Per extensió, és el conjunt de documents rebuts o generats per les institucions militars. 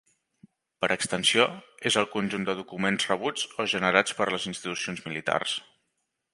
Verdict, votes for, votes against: accepted, 4, 0